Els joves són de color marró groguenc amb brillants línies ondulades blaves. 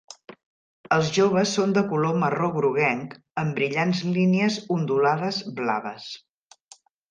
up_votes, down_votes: 3, 0